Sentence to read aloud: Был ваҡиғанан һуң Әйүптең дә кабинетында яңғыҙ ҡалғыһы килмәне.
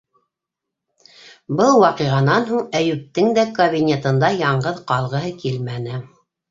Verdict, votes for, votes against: accepted, 2, 1